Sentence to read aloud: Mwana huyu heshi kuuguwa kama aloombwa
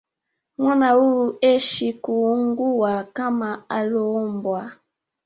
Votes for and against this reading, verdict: 2, 0, accepted